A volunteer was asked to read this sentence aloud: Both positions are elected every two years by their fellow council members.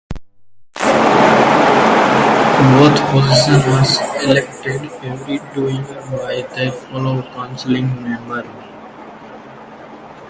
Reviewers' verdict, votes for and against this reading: rejected, 0, 3